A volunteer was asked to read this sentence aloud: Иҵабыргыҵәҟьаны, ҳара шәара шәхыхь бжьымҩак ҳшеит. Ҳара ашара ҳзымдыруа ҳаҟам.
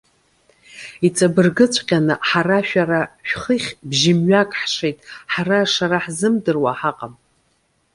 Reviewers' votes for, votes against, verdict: 1, 2, rejected